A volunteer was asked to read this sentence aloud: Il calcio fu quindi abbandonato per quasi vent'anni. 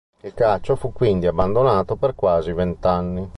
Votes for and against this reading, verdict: 2, 0, accepted